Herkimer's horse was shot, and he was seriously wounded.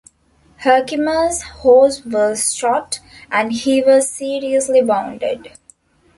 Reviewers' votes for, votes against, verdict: 1, 2, rejected